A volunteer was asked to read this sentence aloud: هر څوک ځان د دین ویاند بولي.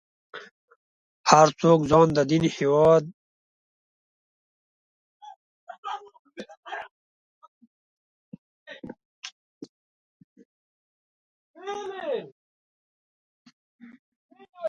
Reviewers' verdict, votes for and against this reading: rejected, 1, 2